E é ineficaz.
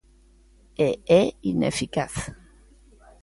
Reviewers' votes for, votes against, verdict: 2, 0, accepted